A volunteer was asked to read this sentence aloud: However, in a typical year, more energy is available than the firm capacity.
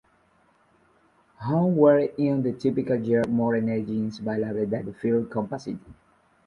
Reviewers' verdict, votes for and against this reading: rejected, 1, 2